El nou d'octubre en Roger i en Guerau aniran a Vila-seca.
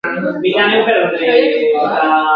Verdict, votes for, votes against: rejected, 0, 2